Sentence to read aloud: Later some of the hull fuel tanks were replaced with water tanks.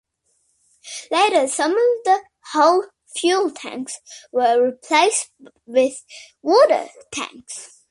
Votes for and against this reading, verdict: 2, 1, accepted